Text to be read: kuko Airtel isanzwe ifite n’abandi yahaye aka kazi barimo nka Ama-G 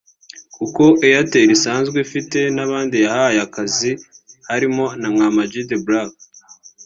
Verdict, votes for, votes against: rejected, 0, 2